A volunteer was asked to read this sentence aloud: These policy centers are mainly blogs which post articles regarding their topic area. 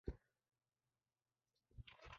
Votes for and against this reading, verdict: 0, 2, rejected